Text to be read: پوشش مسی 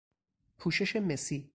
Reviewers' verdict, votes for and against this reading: accepted, 4, 0